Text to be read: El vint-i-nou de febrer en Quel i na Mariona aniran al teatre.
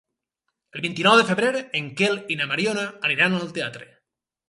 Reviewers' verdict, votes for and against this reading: accepted, 4, 0